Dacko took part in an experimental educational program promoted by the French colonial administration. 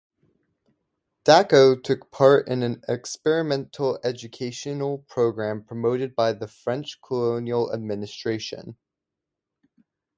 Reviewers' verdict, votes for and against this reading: accepted, 2, 0